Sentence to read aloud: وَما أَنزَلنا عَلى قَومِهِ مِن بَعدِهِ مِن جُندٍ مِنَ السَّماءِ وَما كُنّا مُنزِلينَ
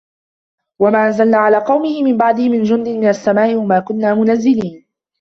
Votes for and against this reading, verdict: 0, 2, rejected